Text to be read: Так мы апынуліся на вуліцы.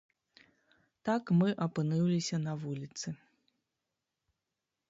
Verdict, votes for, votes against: rejected, 0, 2